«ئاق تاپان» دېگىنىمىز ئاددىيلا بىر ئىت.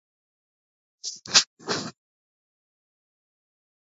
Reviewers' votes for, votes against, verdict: 0, 2, rejected